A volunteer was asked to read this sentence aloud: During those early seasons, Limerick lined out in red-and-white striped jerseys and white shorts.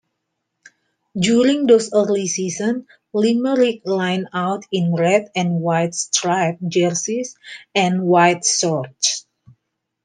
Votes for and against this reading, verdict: 2, 1, accepted